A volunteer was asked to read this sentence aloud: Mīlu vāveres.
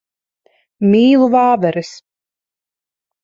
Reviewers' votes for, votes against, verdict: 3, 0, accepted